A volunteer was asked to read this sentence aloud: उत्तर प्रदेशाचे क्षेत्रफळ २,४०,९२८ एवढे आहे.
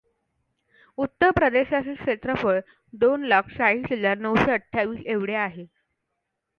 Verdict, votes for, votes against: rejected, 0, 2